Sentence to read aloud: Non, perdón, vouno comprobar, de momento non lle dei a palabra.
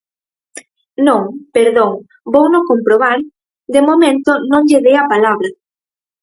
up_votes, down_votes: 4, 2